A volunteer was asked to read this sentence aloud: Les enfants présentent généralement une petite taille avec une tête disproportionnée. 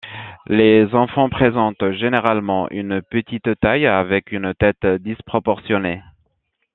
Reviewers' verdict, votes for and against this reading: accepted, 2, 0